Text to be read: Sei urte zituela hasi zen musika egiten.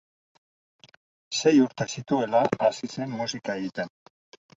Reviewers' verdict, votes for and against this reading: accepted, 4, 0